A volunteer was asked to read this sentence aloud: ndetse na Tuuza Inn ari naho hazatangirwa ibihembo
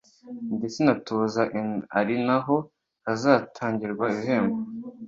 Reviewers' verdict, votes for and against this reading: accepted, 2, 0